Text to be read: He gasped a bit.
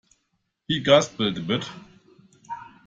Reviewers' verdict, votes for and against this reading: accepted, 2, 1